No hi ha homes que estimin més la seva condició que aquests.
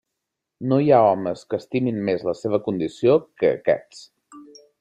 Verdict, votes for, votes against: accepted, 3, 0